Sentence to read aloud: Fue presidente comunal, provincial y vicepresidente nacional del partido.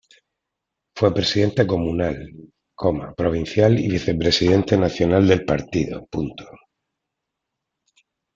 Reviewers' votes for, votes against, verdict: 0, 2, rejected